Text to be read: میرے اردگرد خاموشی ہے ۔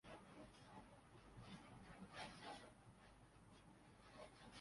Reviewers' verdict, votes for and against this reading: rejected, 0, 2